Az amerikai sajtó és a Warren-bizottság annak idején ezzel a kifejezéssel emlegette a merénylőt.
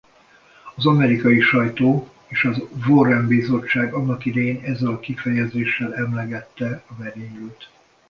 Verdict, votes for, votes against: rejected, 1, 2